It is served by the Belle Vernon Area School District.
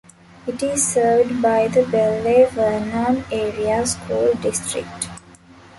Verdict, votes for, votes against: rejected, 1, 2